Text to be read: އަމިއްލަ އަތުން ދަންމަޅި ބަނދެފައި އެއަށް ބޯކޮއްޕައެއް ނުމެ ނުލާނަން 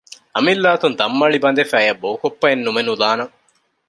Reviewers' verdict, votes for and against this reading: rejected, 1, 2